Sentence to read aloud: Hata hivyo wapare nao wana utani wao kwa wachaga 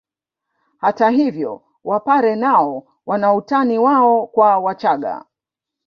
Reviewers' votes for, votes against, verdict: 3, 0, accepted